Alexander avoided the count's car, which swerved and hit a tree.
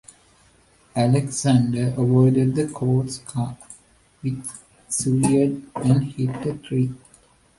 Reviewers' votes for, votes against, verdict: 1, 2, rejected